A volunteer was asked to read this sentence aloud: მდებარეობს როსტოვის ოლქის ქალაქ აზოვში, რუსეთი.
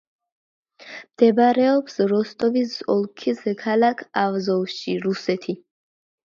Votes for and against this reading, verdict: 2, 0, accepted